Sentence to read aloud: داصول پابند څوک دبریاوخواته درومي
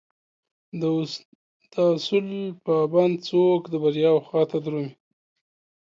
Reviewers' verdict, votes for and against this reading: accepted, 2, 1